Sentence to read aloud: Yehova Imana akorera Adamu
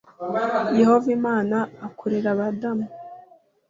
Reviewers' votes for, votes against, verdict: 1, 2, rejected